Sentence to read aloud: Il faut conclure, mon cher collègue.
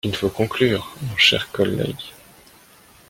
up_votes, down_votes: 2, 0